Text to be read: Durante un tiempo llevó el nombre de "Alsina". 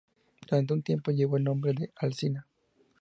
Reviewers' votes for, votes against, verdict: 4, 0, accepted